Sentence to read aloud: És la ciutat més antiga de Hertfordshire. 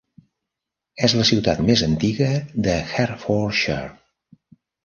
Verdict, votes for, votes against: rejected, 0, 2